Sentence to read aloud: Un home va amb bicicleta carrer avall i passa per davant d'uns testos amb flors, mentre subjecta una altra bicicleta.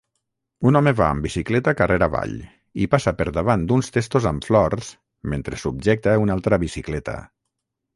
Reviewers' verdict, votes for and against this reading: accepted, 6, 0